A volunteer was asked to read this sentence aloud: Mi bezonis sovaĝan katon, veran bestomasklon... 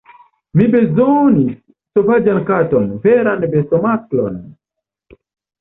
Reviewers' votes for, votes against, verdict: 2, 0, accepted